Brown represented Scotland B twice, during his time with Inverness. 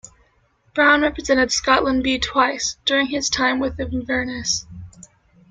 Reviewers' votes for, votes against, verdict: 1, 2, rejected